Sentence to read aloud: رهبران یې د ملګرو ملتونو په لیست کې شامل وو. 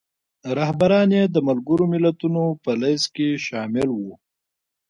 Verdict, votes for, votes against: accepted, 2, 0